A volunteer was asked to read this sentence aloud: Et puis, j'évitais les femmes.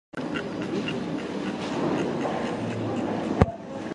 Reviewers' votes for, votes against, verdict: 1, 2, rejected